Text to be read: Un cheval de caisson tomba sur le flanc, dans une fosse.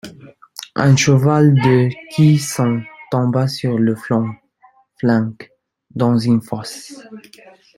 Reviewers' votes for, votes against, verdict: 0, 2, rejected